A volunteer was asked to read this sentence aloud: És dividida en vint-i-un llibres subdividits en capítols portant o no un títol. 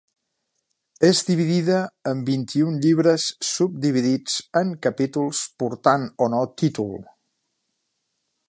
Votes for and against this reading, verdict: 0, 2, rejected